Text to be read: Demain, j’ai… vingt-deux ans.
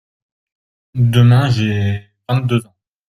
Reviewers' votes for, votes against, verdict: 1, 2, rejected